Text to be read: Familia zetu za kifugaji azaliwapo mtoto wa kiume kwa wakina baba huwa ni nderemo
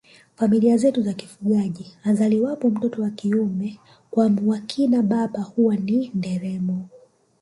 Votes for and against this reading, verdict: 3, 2, accepted